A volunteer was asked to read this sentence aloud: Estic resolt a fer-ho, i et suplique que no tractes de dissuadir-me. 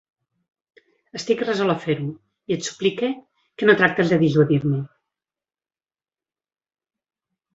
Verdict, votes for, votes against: accepted, 4, 0